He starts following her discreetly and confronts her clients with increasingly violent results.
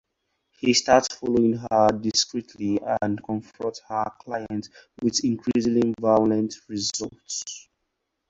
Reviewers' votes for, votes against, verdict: 2, 2, rejected